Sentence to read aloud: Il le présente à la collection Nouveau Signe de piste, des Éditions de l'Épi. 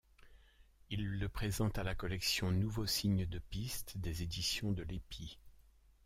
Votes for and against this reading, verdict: 1, 2, rejected